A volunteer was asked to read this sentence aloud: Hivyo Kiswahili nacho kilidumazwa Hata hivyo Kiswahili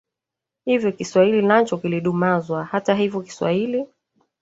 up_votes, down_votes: 0, 2